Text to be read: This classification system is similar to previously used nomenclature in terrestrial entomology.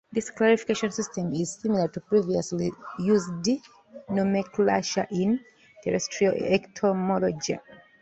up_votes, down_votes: 0, 2